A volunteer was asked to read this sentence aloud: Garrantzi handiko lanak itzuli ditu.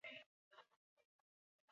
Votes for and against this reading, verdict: 0, 4, rejected